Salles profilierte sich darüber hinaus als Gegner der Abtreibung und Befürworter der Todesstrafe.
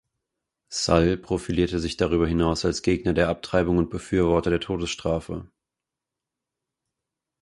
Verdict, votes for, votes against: rejected, 0, 4